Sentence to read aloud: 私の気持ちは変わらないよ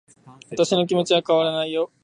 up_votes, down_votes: 2, 0